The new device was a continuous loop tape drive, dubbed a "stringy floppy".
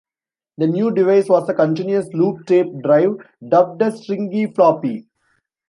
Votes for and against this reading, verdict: 1, 2, rejected